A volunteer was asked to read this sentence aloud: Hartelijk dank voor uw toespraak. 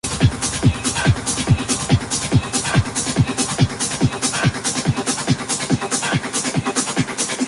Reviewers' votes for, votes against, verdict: 0, 2, rejected